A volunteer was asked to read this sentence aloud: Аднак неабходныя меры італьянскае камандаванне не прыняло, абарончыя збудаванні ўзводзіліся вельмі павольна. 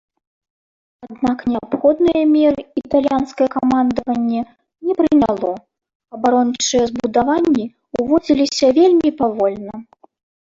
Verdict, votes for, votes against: rejected, 1, 2